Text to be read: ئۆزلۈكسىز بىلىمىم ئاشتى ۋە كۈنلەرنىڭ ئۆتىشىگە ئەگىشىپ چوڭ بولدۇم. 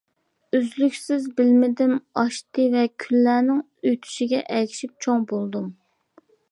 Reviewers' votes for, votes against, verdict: 0, 2, rejected